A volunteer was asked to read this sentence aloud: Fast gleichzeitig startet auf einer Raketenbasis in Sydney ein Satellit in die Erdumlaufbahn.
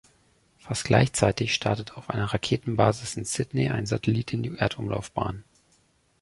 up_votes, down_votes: 2, 0